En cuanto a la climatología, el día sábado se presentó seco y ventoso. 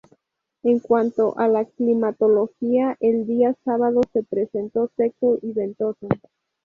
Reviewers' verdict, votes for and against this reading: accepted, 2, 0